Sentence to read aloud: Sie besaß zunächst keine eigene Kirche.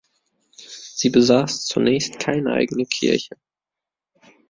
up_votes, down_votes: 2, 0